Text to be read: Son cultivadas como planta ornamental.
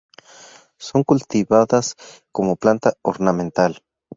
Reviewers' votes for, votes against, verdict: 4, 0, accepted